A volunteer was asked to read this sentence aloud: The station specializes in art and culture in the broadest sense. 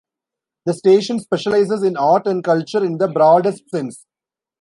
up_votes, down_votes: 2, 0